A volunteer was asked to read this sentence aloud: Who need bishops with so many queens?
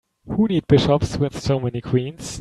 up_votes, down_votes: 3, 0